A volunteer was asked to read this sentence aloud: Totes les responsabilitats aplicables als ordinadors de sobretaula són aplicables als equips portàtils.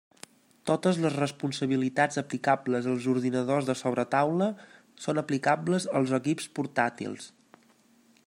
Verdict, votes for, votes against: accepted, 2, 0